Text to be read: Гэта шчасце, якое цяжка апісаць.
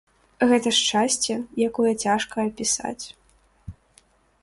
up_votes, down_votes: 3, 0